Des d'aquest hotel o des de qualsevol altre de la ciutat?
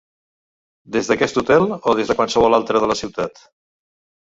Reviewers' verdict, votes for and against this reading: accepted, 2, 0